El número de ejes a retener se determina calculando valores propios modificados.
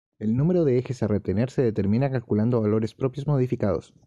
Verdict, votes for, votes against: accepted, 2, 0